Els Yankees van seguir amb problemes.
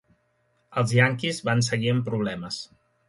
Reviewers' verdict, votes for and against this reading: accepted, 2, 0